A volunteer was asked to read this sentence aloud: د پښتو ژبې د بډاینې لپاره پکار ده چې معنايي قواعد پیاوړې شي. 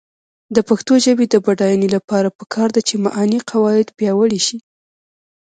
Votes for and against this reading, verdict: 1, 2, rejected